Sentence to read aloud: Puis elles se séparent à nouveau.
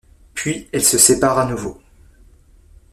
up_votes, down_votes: 2, 0